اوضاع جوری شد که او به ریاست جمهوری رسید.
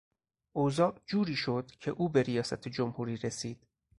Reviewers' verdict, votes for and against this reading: accepted, 4, 0